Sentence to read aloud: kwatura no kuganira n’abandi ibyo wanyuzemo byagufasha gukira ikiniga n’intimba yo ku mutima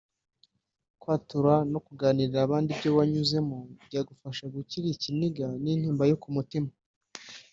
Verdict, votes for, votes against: rejected, 0, 2